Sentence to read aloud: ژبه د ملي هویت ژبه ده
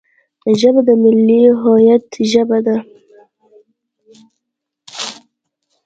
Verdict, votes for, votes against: accepted, 2, 0